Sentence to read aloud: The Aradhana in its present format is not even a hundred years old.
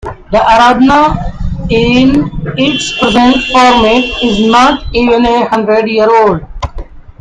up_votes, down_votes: 0, 2